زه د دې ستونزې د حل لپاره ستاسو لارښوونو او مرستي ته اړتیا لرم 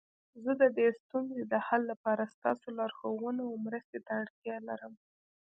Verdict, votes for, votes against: rejected, 0, 2